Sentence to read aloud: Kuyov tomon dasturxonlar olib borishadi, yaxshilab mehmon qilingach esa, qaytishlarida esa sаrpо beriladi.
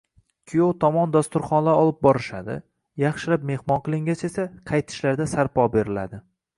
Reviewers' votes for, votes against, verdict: 2, 0, accepted